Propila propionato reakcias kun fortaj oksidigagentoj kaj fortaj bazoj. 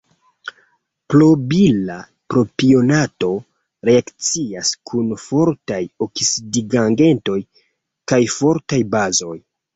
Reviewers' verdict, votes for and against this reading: rejected, 2, 3